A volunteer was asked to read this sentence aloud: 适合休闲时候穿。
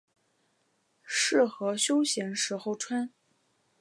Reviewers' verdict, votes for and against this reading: accepted, 2, 0